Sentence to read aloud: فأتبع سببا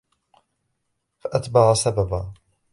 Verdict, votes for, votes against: rejected, 1, 2